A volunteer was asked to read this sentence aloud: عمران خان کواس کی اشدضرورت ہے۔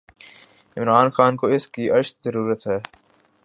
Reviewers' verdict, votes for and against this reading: rejected, 1, 2